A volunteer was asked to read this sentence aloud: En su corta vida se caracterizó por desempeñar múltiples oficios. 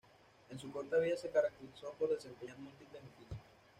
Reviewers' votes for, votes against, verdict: 1, 2, rejected